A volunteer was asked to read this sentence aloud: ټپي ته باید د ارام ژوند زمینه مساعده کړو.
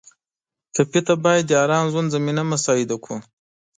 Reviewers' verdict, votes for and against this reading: accepted, 2, 0